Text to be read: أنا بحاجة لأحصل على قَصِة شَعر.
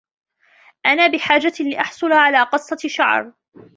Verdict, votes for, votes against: accepted, 2, 0